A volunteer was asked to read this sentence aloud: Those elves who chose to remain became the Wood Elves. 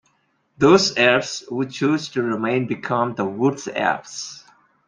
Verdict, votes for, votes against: rejected, 1, 2